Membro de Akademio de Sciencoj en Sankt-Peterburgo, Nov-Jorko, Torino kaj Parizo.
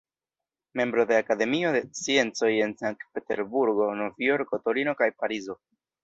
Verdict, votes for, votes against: rejected, 1, 2